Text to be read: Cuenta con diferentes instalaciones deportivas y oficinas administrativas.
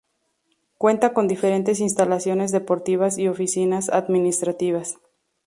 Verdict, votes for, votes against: rejected, 0, 2